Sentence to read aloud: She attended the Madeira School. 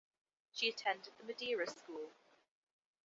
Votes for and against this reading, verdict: 2, 1, accepted